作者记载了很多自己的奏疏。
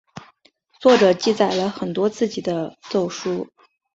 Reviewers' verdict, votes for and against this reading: accepted, 6, 0